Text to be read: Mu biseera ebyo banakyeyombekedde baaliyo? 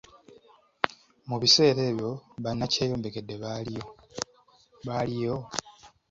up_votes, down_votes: 0, 2